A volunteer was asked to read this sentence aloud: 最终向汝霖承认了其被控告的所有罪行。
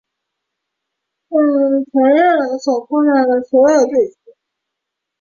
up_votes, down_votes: 1, 3